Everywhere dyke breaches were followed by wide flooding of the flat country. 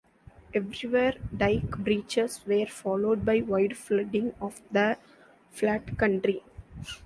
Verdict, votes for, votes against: accepted, 2, 1